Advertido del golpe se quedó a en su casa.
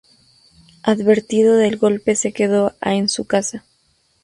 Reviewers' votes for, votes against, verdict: 2, 0, accepted